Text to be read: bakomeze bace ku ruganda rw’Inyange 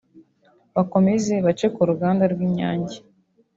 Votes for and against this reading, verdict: 2, 0, accepted